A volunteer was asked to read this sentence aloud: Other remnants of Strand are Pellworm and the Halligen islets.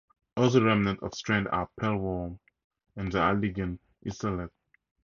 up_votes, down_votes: 0, 2